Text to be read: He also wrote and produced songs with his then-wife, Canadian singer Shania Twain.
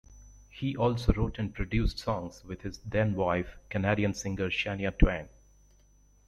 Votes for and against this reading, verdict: 2, 0, accepted